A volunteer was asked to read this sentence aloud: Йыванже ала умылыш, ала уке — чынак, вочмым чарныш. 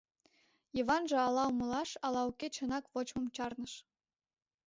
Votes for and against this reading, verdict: 1, 2, rejected